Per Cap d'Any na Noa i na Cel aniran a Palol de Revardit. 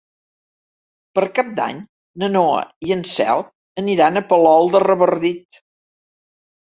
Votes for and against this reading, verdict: 1, 2, rejected